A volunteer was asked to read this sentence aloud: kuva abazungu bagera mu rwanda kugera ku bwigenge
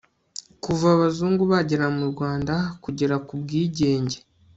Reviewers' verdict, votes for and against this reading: accepted, 2, 0